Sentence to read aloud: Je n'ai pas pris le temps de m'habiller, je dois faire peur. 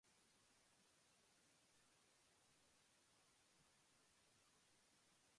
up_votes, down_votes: 0, 2